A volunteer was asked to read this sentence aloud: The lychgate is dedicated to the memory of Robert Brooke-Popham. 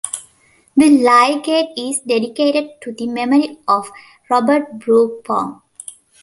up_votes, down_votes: 0, 2